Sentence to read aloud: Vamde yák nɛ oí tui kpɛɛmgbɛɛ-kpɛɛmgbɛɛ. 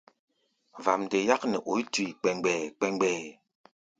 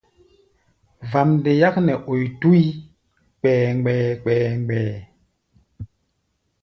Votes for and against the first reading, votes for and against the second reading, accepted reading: 2, 0, 1, 2, first